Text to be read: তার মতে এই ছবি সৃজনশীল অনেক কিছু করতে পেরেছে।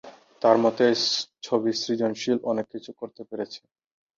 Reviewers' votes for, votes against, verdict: 2, 2, rejected